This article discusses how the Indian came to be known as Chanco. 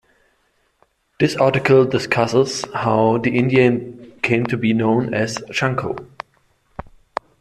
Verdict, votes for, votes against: accepted, 2, 0